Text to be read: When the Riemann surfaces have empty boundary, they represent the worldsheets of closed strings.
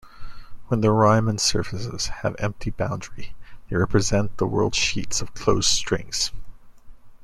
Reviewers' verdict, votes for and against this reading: accepted, 2, 0